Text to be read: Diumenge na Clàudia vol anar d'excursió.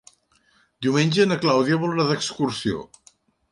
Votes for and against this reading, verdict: 3, 0, accepted